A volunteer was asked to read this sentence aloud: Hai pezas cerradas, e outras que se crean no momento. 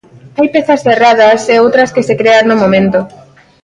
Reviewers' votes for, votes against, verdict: 2, 0, accepted